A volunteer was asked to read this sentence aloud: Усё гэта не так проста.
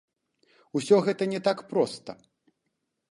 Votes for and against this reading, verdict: 2, 0, accepted